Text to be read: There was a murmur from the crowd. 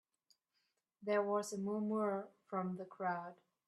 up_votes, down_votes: 1, 2